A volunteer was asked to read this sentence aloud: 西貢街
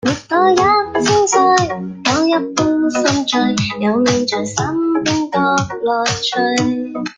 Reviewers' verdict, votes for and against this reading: rejected, 0, 2